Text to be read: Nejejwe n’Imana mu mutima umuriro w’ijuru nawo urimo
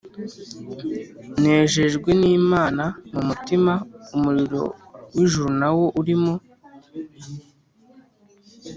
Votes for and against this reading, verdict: 2, 0, accepted